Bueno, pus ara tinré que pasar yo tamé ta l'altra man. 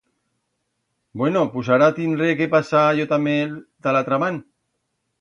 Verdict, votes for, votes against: rejected, 1, 2